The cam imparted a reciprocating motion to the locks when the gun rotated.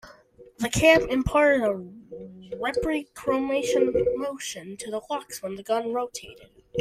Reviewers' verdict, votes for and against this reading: rejected, 1, 2